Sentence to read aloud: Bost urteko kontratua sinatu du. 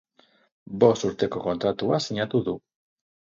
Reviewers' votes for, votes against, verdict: 4, 0, accepted